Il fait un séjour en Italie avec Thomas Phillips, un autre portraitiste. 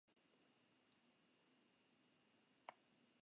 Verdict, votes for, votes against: rejected, 1, 2